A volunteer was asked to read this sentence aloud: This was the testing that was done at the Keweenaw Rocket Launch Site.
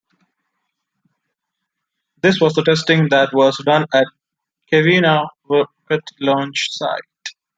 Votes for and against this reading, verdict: 1, 2, rejected